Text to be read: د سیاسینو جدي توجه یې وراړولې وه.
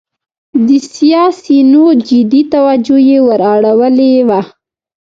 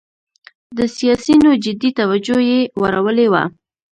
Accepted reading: second